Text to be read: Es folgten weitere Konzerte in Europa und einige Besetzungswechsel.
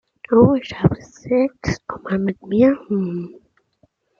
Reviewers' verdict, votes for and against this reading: rejected, 0, 2